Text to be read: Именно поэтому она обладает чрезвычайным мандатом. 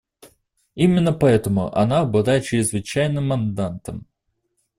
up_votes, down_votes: 1, 2